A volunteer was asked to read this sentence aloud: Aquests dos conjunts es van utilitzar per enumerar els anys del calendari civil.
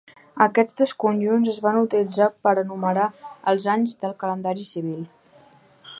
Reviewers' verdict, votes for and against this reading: accepted, 2, 0